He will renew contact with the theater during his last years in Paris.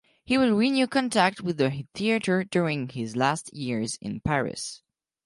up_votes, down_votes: 4, 2